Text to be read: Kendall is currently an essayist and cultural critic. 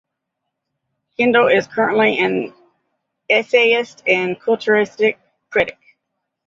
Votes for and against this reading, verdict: 1, 2, rejected